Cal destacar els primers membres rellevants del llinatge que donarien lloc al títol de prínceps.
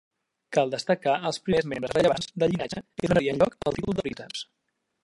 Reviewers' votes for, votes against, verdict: 0, 2, rejected